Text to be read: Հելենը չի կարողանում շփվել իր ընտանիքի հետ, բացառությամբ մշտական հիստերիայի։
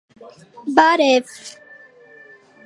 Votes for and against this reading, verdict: 0, 2, rejected